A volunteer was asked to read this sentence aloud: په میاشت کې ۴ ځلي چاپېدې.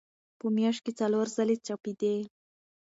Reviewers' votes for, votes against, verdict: 0, 2, rejected